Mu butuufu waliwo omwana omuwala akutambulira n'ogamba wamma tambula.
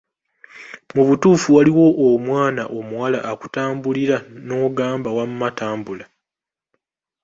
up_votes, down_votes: 2, 0